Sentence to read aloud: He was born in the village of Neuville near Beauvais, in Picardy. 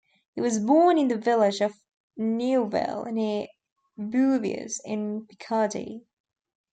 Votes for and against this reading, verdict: 0, 2, rejected